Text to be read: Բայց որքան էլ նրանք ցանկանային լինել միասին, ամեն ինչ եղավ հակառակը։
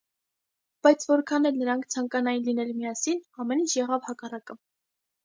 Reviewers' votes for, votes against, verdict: 2, 0, accepted